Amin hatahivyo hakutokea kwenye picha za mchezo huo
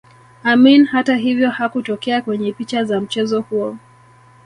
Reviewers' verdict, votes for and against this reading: accepted, 3, 0